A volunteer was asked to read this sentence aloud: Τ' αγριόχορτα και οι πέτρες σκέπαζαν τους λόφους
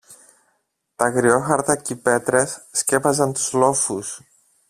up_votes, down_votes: 1, 2